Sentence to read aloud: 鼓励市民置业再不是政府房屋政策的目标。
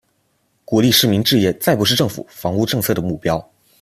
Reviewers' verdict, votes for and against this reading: accepted, 2, 0